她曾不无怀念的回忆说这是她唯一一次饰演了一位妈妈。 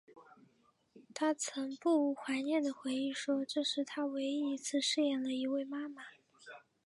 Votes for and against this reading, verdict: 4, 0, accepted